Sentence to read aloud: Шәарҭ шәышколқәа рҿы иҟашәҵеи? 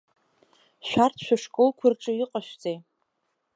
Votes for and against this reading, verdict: 4, 0, accepted